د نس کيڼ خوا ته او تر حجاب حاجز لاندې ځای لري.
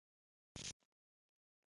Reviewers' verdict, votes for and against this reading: rejected, 0, 2